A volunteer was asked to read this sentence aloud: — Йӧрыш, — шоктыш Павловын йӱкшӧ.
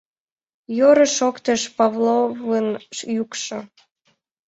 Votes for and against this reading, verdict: 0, 3, rejected